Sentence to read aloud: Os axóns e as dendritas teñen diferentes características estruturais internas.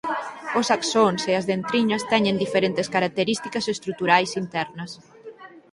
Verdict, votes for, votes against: rejected, 0, 4